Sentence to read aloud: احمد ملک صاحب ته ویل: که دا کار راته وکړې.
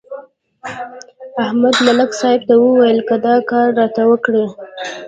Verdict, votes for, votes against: accepted, 2, 0